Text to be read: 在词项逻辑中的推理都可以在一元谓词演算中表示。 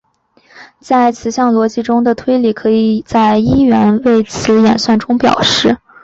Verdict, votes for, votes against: rejected, 1, 2